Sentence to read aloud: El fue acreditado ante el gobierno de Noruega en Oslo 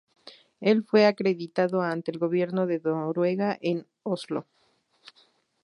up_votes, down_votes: 0, 2